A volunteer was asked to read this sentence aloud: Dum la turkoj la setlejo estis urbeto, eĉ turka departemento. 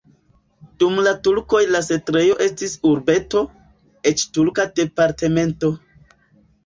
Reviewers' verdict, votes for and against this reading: rejected, 0, 2